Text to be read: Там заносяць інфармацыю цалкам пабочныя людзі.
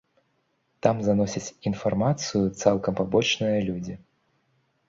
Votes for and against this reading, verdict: 2, 0, accepted